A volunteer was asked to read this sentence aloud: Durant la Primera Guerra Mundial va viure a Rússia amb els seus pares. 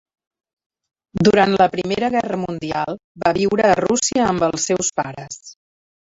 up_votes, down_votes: 0, 2